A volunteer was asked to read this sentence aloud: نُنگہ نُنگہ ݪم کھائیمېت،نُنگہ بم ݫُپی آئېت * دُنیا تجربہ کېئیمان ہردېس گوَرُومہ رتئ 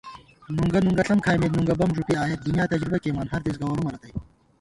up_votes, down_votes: 0, 2